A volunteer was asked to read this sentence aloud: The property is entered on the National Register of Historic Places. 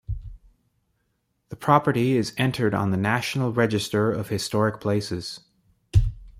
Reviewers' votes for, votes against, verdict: 1, 2, rejected